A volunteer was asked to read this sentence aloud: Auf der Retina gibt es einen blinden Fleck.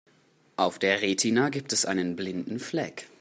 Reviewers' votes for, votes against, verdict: 2, 0, accepted